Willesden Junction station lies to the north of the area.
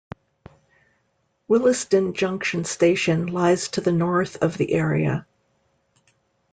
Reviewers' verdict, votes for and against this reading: accepted, 2, 0